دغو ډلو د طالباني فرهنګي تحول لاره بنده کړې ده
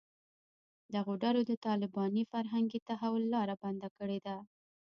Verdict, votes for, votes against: rejected, 1, 2